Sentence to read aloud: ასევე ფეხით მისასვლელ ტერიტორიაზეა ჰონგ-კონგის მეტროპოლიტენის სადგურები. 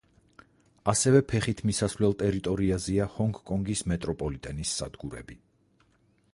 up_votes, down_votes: 4, 0